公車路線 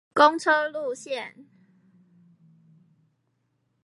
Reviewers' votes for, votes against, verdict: 4, 2, accepted